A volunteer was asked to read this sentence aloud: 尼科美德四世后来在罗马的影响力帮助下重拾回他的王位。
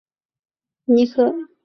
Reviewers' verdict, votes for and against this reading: rejected, 2, 3